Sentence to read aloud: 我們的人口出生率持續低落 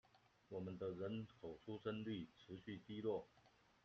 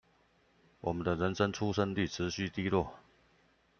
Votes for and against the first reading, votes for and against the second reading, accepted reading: 2, 0, 0, 2, first